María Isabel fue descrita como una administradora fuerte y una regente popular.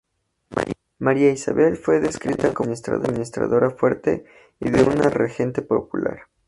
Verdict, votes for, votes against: rejected, 0, 2